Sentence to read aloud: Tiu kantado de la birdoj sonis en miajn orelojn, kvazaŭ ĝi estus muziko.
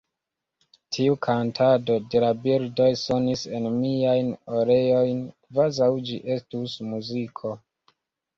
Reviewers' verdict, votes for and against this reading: rejected, 0, 2